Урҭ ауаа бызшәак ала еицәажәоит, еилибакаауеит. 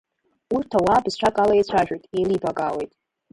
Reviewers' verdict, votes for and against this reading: rejected, 1, 2